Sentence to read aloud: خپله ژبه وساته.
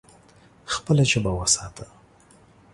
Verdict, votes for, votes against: accepted, 2, 0